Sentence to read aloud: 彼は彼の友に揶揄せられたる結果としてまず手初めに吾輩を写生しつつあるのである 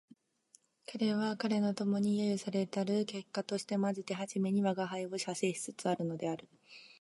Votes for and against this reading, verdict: 3, 0, accepted